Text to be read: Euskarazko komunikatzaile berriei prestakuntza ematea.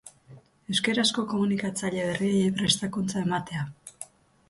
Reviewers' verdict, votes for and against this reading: accepted, 4, 0